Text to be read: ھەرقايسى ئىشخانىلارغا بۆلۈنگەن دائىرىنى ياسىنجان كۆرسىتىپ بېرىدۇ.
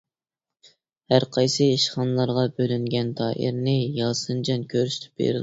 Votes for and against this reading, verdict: 0, 2, rejected